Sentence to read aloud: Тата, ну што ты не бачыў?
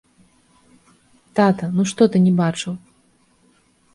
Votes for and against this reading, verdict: 2, 0, accepted